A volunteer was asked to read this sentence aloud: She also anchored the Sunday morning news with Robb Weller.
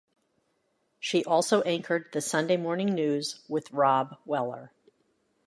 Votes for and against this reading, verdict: 2, 0, accepted